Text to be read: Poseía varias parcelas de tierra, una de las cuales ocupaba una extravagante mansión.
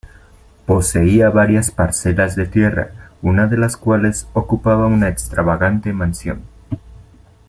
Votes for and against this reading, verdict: 2, 0, accepted